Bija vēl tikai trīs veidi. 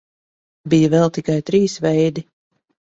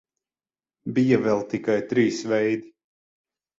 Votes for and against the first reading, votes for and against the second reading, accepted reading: 2, 0, 6, 12, first